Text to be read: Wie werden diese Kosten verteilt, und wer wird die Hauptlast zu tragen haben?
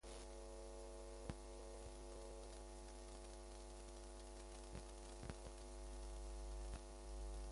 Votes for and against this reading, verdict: 0, 2, rejected